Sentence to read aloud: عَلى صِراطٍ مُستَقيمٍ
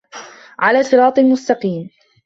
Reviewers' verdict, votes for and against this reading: accepted, 2, 0